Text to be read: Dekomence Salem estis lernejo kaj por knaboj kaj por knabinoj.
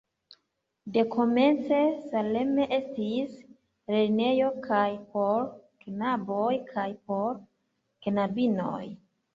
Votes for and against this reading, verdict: 0, 2, rejected